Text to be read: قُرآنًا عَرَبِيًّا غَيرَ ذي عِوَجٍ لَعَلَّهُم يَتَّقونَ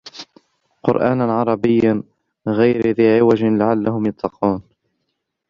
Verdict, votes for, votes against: rejected, 1, 3